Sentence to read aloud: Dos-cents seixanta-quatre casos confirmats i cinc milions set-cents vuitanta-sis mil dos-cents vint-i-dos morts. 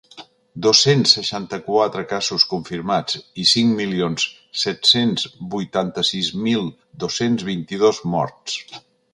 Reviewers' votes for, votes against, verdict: 3, 0, accepted